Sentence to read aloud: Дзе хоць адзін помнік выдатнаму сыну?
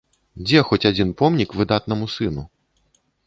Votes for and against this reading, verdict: 2, 0, accepted